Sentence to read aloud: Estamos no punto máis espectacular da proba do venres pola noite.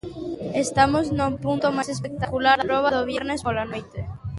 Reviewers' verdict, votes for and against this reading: rejected, 0, 2